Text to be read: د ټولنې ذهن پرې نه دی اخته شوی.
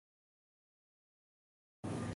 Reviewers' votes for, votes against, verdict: 0, 2, rejected